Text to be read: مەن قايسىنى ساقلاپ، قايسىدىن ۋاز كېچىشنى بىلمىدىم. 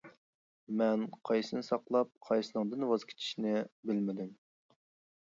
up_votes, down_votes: 0, 2